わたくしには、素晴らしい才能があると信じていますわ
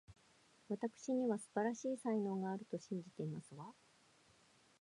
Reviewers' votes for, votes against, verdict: 1, 2, rejected